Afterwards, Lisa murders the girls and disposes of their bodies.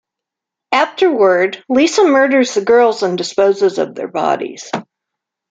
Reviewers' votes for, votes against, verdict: 0, 2, rejected